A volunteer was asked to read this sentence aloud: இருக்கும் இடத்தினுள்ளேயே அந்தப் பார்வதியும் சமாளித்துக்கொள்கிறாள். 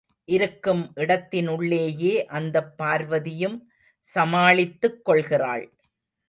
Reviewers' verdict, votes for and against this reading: rejected, 1, 2